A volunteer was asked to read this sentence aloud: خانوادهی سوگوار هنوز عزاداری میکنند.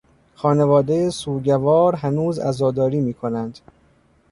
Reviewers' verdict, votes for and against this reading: rejected, 1, 2